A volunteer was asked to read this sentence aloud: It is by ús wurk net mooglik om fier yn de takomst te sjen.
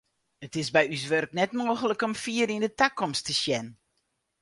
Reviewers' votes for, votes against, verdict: 4, 0, accepted